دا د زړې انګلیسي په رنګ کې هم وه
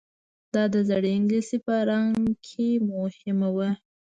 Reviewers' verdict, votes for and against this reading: rejected, 0, 2